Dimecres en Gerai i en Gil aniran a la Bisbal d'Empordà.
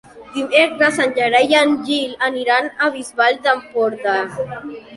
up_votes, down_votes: 1, 2